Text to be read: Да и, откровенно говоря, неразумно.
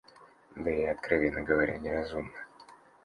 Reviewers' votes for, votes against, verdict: 2, 0, accepted